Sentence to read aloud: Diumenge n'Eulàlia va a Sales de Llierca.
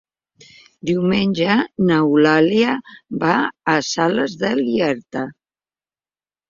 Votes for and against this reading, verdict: 0, 2, rejected